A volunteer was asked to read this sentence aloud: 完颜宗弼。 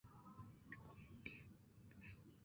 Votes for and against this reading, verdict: 3, 2, accepted